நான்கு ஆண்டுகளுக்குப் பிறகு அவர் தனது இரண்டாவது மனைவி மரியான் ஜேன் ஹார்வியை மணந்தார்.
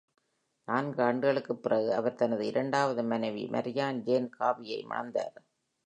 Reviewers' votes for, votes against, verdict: 2, 1, accepted